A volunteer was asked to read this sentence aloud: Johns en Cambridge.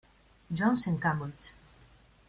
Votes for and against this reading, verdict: 0, 2, rejected